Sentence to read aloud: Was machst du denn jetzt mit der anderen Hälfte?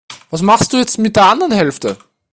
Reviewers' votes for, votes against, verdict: 1, 3, rejected